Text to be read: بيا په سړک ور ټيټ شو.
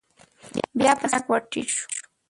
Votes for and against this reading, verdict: 3, 4, rejected